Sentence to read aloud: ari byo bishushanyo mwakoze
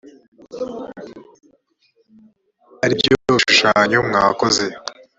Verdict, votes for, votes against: rejected, 1, 2